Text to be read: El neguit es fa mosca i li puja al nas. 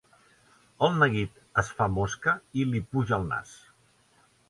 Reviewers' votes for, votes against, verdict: 2, 0, accepted